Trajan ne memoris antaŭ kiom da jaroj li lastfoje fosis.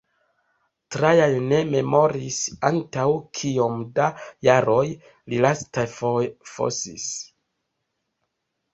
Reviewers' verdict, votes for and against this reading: rejected, 0, 2